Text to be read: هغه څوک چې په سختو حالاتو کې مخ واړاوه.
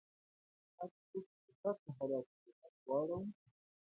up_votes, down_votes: 0, 2